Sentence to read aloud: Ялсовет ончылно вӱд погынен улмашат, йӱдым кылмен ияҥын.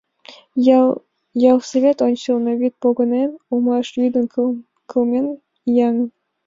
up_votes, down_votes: 1, 2